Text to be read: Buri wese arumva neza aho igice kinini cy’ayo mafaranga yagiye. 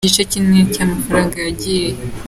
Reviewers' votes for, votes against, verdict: 0, 2, rejected